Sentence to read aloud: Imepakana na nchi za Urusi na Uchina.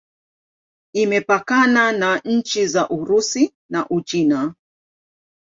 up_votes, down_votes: 2, 0